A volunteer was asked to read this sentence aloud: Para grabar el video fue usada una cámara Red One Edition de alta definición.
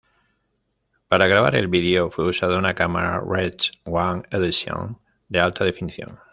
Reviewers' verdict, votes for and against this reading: accepted, 2, 0